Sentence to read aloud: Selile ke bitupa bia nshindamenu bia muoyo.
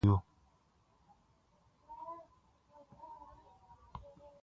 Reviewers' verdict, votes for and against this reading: rejected, 1, 2